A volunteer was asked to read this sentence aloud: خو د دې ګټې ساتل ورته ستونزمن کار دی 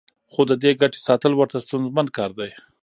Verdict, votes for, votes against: rejected, 1, 2